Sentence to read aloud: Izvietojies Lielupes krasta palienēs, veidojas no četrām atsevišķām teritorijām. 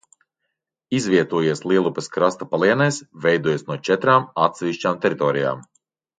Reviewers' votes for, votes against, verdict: 2, 1, accepted